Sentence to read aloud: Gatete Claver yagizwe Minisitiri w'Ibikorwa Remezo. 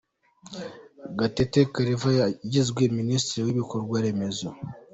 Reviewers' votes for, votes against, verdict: 2, 0, accepted